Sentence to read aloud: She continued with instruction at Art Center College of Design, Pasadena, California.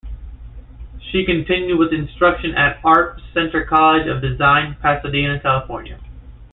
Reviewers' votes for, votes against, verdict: 2, 0, accepted